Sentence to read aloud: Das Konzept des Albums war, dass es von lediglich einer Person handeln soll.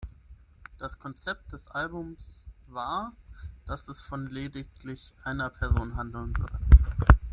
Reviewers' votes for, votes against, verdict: 3, 6, rejected